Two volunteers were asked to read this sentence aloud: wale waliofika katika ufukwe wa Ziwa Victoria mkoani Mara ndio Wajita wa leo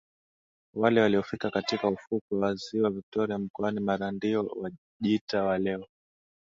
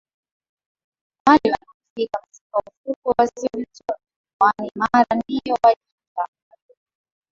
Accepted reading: first